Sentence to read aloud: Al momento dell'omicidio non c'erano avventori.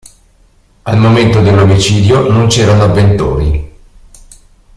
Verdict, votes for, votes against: rejected, 1, 2